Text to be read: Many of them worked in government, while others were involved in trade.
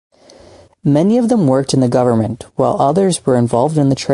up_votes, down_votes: 0, 2